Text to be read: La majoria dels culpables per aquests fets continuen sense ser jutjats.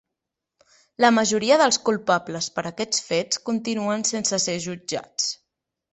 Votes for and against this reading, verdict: 2, 0, accepted